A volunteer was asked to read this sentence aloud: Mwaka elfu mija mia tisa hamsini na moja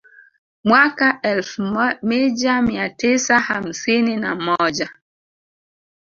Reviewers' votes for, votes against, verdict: 0, 3, rejected